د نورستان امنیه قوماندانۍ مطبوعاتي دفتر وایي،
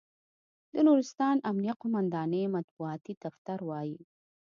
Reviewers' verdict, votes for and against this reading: accepted, 2, 0